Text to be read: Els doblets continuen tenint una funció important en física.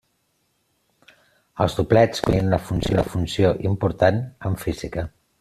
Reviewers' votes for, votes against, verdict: 0, 2, rejected